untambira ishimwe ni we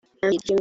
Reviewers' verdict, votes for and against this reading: rejected, 0, 2